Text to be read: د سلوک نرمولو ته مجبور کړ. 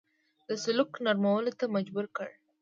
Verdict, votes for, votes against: accepted, 2, 0